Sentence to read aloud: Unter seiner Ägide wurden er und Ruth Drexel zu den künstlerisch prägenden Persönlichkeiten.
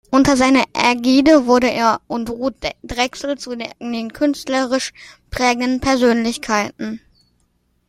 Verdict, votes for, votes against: rejected, 1, 2